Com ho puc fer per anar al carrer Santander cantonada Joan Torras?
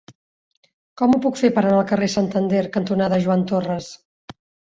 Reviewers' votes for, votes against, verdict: 2, 0, accepted